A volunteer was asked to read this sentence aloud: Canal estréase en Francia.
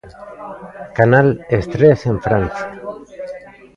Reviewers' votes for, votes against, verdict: 0, 2, rejected